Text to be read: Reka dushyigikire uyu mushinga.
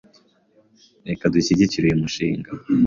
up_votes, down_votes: 2, 0